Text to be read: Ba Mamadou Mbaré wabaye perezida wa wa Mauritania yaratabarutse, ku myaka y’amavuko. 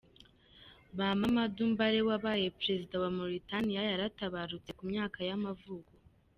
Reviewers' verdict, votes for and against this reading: accepted, 2, 0